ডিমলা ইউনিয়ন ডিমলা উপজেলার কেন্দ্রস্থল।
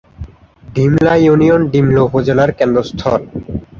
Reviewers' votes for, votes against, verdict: 7, 2, accepted